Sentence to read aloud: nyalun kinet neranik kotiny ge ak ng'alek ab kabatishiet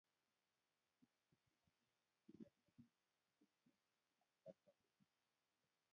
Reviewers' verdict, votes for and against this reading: rejected, 1, 2